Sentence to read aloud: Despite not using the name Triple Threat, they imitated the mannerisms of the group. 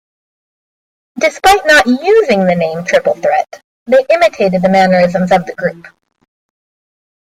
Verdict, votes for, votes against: accepted, 2, 0